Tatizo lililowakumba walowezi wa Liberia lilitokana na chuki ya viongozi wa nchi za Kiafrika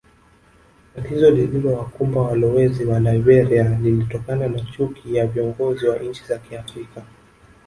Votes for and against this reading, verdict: 0, 2, rejected